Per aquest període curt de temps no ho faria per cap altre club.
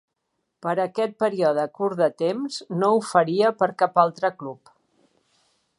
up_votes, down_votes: 3, 1